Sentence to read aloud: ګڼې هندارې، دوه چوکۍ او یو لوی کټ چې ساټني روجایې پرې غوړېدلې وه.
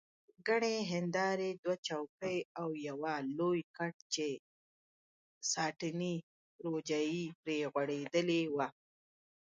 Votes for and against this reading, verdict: 0, 2, rejected